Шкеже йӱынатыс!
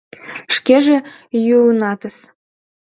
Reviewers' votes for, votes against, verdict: 1, 2, rejected